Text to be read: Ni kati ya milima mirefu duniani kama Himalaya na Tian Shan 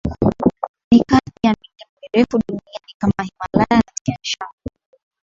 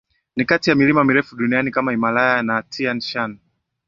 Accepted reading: first